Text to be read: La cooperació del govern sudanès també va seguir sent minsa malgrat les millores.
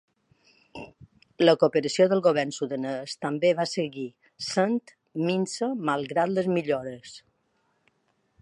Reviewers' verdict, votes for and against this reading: accepted, 2, 0